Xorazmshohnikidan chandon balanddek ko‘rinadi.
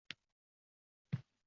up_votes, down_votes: 0, 2